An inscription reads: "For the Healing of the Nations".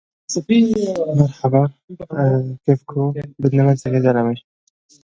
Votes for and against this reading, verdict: 0, 2, rejected